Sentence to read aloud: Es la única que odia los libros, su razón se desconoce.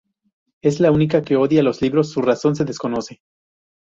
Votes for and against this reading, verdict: 0, 2, rejected